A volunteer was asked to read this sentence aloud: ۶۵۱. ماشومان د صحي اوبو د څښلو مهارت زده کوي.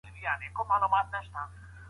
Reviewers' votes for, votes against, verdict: 0, 2, rejected